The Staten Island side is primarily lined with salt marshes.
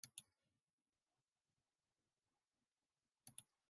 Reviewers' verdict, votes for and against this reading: rejected, 0, 2